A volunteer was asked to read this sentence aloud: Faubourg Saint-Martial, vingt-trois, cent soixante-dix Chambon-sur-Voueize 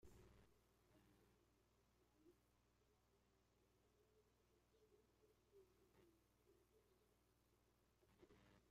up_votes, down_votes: 0, 2